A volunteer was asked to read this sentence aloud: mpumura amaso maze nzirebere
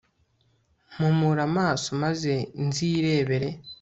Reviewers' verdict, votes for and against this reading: accepted, 2, 0